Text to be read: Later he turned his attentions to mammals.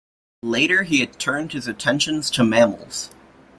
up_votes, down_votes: 1, 2